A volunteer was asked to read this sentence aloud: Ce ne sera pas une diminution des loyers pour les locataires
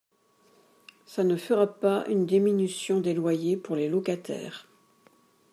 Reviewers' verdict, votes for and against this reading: rejected, 1, 2